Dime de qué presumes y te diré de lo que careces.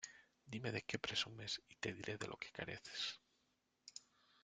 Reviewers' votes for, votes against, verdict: 2, 1, accepted